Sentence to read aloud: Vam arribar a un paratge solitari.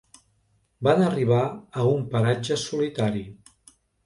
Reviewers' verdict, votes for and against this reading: rejected, 0, 2